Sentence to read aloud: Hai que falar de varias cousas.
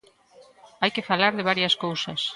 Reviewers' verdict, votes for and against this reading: accepted, 3, 0